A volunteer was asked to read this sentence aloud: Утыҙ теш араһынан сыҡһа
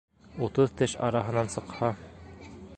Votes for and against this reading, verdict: 1, 2, rejected